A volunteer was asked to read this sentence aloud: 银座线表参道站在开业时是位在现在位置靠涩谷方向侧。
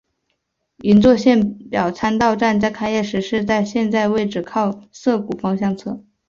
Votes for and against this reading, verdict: 0, 2, rejected